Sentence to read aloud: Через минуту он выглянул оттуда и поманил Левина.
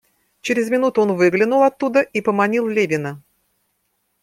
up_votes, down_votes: 2, 0